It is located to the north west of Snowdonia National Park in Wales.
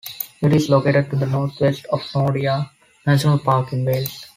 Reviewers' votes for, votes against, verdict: 0, 2, rejected